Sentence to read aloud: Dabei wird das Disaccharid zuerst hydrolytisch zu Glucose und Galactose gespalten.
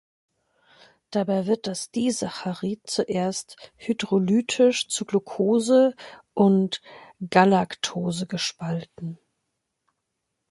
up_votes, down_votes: 2, 0